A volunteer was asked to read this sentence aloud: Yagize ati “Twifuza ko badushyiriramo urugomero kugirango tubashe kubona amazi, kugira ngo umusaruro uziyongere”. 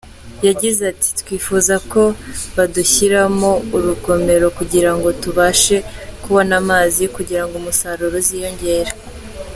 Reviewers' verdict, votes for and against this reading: accepted, 2, 0